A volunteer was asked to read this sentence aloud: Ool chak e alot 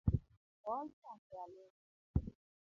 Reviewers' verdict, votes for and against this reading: rejected, 1, 3